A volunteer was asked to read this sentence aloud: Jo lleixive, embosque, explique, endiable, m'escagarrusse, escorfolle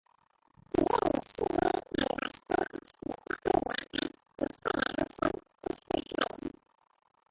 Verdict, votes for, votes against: rejected, 0, 2